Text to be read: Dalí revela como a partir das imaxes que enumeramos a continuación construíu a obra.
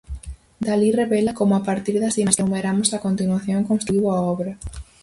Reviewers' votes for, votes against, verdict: 2, 2, rejected